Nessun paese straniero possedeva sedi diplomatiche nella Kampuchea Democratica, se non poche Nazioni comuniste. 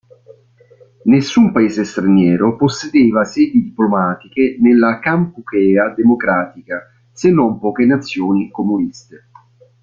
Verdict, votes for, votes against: rejected, 0, 2